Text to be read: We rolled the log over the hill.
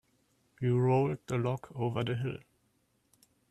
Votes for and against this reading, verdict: 2, 1, accepted